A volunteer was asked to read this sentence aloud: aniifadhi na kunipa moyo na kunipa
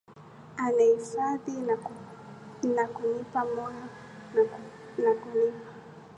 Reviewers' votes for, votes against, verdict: 0, 2, rejected